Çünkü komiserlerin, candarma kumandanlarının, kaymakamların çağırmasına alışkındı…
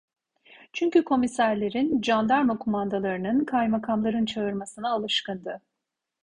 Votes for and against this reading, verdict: 2, 0, accepted